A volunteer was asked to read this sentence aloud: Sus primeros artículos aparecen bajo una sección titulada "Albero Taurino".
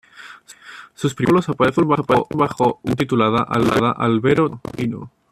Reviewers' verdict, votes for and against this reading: rejected, 1, 2